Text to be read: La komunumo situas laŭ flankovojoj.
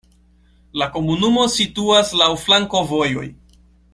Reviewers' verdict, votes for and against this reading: accepted, 2, 0